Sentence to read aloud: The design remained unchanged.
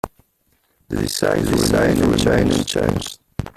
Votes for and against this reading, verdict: 0, 2, rejected